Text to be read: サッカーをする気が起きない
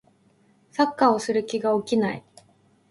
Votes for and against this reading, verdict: 2, 0, accepted